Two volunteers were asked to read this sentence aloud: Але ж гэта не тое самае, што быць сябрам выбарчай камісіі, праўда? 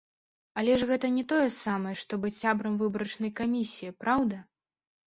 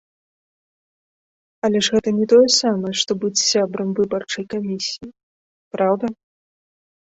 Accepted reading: second